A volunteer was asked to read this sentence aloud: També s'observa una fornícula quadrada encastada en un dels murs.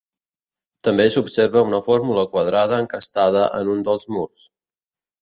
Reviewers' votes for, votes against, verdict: 1, 2, rejected